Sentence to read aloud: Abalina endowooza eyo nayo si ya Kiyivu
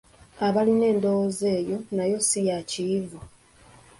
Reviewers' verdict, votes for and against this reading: accepted, 2, 1